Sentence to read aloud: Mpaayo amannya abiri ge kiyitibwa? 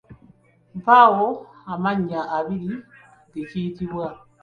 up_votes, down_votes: 2, 0